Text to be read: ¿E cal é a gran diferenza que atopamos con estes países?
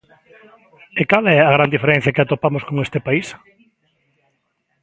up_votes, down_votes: 0, 2